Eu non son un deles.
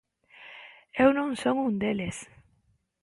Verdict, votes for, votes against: accepted, 2, 1